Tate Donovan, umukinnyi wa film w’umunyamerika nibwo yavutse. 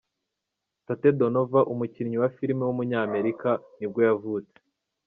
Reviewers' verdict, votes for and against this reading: rejected, 0, 2